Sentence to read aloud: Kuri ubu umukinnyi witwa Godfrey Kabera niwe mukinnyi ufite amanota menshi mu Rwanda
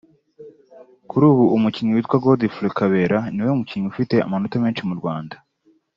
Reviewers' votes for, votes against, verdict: 2, 1, accepted